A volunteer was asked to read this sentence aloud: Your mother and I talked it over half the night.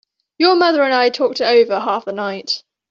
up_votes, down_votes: 3, 0